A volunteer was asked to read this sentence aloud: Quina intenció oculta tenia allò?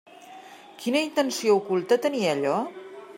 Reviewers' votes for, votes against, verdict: 3, 0, accepted